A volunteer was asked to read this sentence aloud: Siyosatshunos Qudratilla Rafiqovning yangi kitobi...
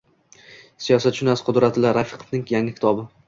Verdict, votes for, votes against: accepted, 2, 0